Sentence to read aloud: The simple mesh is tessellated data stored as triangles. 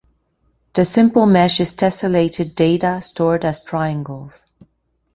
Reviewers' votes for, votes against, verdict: 2, 0, accepted